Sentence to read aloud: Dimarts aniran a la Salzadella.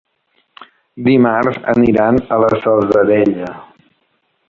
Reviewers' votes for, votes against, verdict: 1, 2, rejected